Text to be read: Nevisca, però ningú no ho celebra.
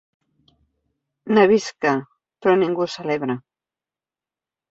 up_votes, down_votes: 0, 2